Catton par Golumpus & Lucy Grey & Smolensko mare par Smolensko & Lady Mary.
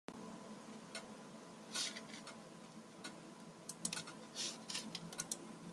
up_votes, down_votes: 0, 2